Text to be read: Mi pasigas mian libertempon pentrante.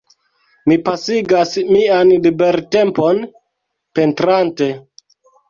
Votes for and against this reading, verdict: 1, 2, rejected